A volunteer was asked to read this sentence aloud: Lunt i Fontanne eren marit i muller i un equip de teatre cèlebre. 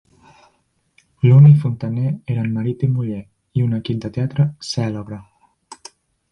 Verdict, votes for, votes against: rejected, 0, 2